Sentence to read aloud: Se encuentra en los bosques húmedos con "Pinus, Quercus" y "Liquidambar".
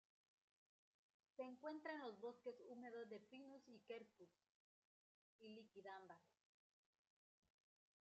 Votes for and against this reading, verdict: 0, 2, rejected